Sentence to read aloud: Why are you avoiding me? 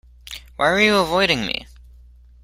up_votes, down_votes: 2, 0